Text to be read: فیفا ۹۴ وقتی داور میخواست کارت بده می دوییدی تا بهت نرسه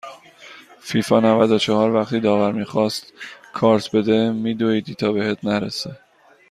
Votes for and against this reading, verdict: 0, 2, rejected